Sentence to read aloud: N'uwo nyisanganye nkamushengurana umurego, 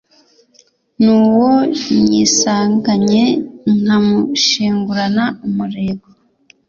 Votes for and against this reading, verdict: 2, 0, accepted